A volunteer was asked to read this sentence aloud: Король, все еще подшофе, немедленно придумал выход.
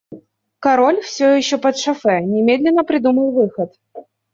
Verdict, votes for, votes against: accepted, 2, 0